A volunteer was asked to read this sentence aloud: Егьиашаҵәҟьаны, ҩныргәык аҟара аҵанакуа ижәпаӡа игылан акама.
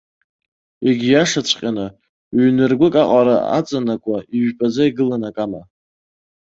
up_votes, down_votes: 2, 0